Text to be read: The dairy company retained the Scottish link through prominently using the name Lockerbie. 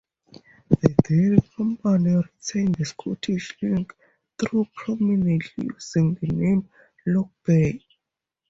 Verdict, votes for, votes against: rejected, 0, 2